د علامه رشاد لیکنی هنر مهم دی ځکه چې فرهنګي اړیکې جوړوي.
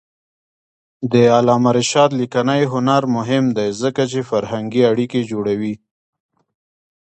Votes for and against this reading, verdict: 2, 0, accepted